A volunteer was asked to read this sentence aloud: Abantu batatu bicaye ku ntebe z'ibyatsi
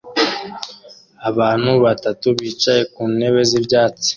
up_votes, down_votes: 2, 0